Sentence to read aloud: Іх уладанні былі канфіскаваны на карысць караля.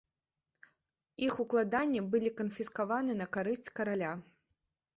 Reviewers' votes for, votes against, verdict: 0, 2, rejected